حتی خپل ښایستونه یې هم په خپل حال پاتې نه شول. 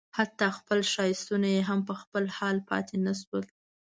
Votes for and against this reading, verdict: 2, 0, accepted